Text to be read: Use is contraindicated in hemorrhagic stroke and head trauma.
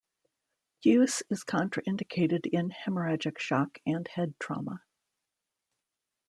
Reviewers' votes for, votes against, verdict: 0, 2, rejected